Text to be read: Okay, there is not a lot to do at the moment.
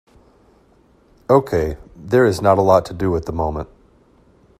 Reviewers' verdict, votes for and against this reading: accepted, 2, 0